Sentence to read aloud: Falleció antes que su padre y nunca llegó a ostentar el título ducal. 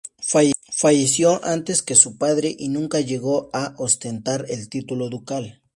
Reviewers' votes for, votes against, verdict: 0, 2, rejected